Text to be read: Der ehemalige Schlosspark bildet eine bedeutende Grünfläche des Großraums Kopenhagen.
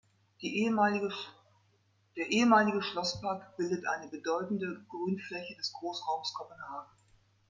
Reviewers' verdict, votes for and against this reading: rejected, 0, 2